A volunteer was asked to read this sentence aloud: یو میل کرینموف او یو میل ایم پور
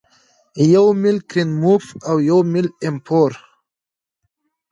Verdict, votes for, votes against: accepted, 2, 0